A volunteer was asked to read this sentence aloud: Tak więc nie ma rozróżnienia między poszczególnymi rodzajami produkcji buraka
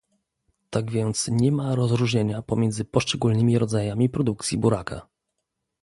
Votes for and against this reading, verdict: 1, 2, rejected